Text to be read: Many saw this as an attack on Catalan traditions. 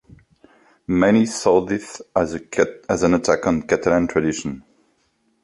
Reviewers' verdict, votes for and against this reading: rejected, 0, 3